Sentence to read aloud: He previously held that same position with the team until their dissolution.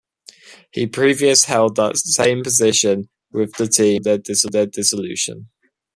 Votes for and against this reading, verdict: 1, 2, rejected